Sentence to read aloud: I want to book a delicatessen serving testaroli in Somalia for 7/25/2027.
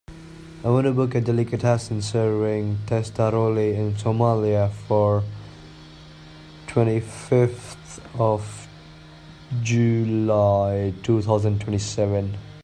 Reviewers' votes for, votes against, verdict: 0, 2, rejected